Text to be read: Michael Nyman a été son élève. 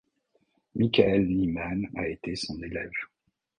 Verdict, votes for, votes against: rejected, 1, 2